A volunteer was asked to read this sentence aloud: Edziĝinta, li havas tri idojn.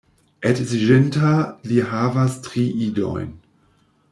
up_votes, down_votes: 1, 2